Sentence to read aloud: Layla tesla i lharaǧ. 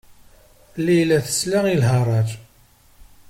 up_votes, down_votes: 2, 0